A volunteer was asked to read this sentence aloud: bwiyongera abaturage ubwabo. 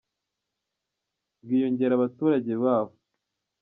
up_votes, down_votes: 0, 2